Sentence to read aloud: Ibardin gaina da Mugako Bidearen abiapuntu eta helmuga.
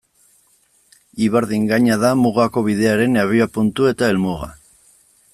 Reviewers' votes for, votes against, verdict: 2, 0, accepted